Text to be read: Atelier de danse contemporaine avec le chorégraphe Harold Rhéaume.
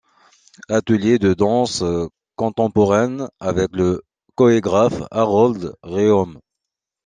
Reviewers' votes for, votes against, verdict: 0, 2, rejected